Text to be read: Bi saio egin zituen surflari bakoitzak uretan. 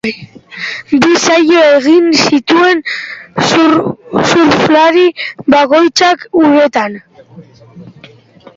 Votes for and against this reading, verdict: 0, 4, rejected